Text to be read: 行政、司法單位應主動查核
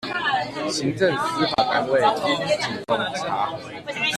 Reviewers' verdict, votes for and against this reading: rejected, 1, 2